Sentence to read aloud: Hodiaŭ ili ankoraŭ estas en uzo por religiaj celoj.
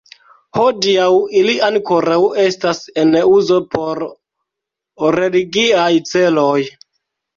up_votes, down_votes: 2, 0